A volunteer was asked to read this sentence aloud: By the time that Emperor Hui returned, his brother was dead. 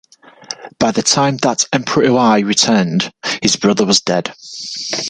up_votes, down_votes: 2, 0